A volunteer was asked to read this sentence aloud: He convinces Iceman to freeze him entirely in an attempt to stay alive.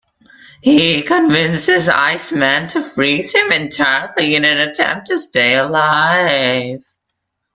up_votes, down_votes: 0, 2